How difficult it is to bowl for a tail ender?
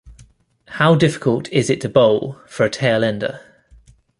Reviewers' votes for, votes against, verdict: 2, 1, accepted